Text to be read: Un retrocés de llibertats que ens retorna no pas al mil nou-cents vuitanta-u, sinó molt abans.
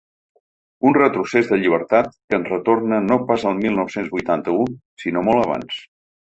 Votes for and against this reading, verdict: 2, 3, rejected